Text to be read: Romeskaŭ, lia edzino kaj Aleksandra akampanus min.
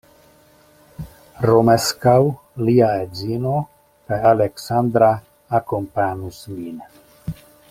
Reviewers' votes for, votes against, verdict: 1, 2, rejected